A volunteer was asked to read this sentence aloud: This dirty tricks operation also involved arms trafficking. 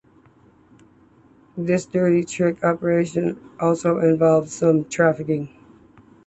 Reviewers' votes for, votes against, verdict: 1, 2, rejected